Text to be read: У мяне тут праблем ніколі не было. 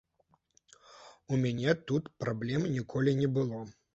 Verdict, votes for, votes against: accepted, 2, 0